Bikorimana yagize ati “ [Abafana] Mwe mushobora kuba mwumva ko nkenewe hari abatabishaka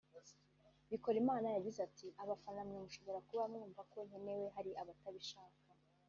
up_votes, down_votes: 1, 2